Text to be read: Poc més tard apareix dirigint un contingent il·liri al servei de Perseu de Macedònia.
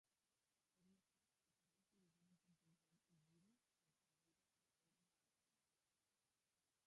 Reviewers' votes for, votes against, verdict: 0, 2, rejected